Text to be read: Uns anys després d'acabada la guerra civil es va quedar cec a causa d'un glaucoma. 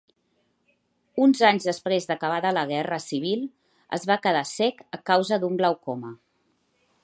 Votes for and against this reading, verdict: 2, 0, accepted